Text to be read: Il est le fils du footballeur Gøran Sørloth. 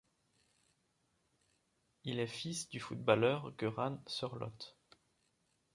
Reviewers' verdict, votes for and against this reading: rejected, 0, 2